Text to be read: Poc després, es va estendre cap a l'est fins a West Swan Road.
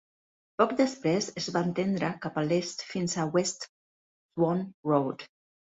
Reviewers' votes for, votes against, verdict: 0, 2, rejected